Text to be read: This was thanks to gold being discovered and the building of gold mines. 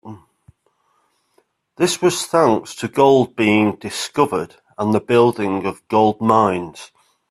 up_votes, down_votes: 2, 1